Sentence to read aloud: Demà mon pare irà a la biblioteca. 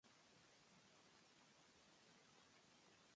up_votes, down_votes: 0, 4